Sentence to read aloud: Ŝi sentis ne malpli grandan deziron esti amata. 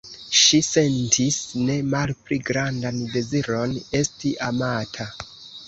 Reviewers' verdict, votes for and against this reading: rejected, 1, 2